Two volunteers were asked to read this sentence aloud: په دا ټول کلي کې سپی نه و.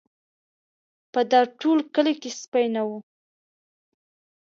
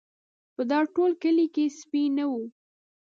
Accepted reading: first